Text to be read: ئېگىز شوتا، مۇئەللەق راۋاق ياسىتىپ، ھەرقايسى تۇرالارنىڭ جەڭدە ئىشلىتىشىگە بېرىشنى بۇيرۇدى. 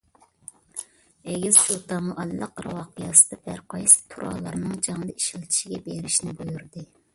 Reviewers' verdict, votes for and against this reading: rejected, 1, 2